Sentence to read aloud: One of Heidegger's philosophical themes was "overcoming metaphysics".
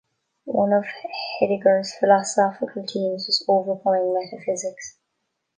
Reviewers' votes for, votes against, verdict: 0, 2, rejected